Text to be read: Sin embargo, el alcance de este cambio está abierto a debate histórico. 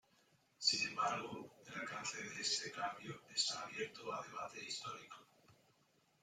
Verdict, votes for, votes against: rejected, 0, 2